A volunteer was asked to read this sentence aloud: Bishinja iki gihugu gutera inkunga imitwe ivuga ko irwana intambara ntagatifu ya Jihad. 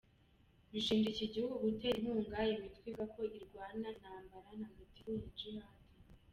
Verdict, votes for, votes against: accepted, 2, 1